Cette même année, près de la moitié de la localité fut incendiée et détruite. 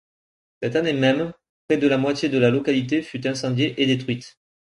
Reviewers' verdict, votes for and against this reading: rejected, 0, 2